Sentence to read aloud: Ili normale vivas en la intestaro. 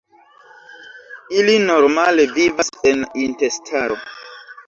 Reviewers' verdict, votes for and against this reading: rejected, 0, 2